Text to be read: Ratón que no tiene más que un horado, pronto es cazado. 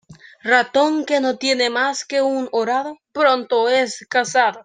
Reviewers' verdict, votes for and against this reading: accepted, 2, 0